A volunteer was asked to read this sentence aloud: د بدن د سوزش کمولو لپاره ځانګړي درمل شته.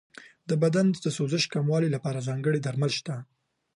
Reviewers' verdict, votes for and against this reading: accepted, 3, 0